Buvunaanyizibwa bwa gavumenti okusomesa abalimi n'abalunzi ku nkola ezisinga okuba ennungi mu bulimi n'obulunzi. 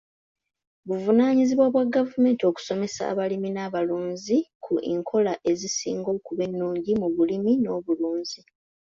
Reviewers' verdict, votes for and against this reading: rejected, 0, 2